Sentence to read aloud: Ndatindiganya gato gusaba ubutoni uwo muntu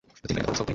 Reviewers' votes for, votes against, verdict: 1, 2, rejected